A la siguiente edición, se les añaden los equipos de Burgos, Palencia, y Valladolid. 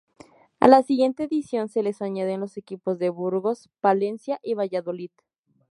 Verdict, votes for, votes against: accepted, 2, 0